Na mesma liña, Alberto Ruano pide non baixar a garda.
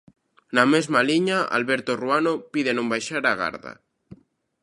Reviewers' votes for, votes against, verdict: 2, 0, accepted